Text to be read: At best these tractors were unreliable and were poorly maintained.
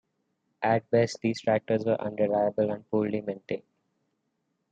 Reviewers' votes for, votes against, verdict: 2, 0, accepted